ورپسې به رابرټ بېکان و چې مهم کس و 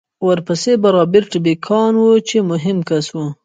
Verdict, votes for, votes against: rejected, 1, 2